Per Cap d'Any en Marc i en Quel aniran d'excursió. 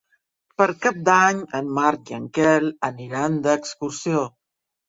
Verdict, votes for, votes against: accepted, 6, 0